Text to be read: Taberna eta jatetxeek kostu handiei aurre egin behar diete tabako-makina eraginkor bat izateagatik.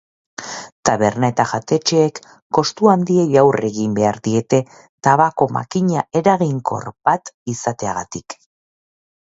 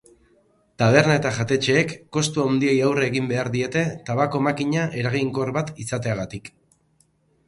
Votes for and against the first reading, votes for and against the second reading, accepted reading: 4, 0, 2, 4, first